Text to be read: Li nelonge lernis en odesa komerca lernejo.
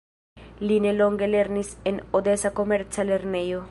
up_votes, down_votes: 2, 1